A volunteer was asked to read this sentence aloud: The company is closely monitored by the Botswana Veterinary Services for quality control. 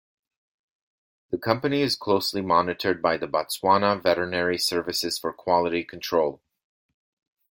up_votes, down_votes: 2, 0